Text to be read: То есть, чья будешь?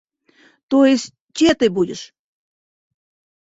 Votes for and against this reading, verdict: 0, 2, rejected